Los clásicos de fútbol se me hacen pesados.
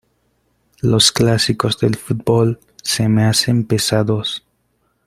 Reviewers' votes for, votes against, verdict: 0, 2, rejected